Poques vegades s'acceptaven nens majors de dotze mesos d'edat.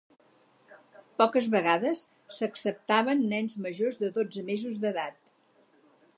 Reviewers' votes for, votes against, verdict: 4, 0, accepted